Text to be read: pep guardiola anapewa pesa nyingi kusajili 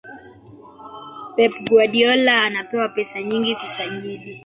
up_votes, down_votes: 1, 2